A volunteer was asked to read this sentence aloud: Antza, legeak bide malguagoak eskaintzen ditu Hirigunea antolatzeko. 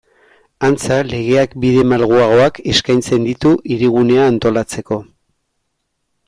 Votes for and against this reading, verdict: 2, 0, accepted